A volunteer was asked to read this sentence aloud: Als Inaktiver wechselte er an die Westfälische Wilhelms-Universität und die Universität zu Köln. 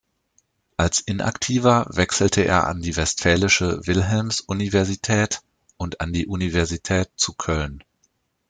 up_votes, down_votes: 0, 2